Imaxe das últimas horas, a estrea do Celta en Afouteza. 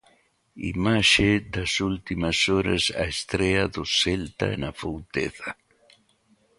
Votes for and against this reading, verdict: 2, 0, accepted